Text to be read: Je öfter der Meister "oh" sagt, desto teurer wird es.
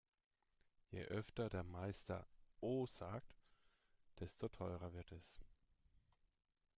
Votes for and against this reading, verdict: 2, 0, accepted